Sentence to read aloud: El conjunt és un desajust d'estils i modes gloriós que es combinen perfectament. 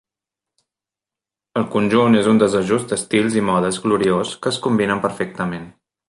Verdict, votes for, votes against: accepted, 3, 0